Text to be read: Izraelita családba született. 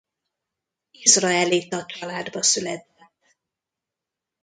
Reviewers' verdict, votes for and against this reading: rejected, 0, 2